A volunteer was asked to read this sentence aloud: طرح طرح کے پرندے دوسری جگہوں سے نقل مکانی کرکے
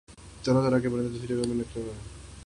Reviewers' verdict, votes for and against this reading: rejected, 3, 6